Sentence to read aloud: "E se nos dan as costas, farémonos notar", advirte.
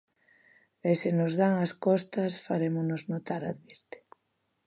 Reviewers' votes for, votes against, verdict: 2, 0, accepted